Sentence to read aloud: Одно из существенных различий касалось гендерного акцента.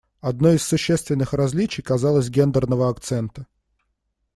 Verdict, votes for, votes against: rejected, 1, 2